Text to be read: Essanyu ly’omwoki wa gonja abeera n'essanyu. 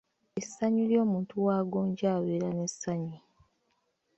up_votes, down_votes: 0, 2